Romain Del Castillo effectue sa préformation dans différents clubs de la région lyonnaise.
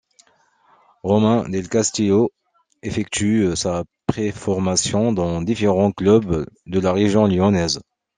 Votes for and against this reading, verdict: 1, 2, rejected